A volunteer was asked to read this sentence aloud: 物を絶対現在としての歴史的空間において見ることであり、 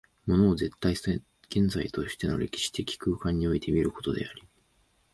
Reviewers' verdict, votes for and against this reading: rejected, 1, 2